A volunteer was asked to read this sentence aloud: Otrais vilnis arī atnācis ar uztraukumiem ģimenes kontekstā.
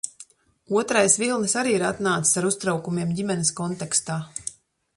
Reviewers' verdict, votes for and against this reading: rejected, 1, 2